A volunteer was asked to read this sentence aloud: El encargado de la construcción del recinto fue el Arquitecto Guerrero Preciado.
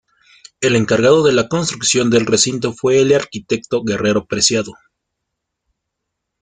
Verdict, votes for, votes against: rejected, 0, 2